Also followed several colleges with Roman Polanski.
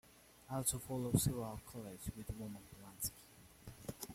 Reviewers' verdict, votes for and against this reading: rejected, 0, 2